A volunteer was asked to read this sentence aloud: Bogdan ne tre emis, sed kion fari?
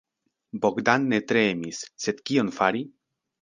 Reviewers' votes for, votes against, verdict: 2, 0, accepted